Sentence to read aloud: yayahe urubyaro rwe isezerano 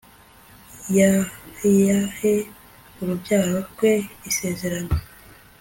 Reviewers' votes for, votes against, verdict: 2, 1, accepted